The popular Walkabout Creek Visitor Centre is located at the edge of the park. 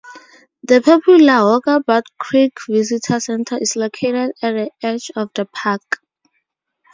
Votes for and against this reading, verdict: 2, 0, accepted